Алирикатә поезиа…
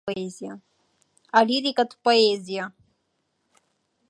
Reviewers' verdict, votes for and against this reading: rejected, 0, 2